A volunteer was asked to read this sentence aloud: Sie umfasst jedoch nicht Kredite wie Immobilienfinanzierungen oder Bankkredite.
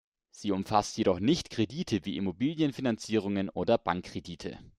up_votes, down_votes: 2, 0